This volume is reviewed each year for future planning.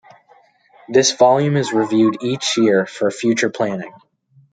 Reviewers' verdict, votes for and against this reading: accepted, 2, 0